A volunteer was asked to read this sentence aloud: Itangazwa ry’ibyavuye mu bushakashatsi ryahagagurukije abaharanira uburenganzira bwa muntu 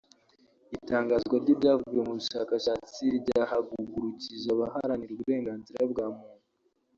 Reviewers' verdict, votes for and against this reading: rejected, 0, 2